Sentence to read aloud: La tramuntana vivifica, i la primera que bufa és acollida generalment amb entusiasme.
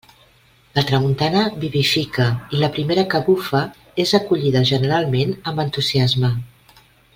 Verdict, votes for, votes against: accepted, 2, 0